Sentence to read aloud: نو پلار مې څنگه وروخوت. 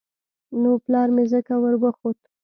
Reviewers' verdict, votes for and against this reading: accepted, 2, 0